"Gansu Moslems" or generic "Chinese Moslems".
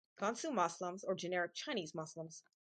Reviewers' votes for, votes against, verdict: 2, 2, rejected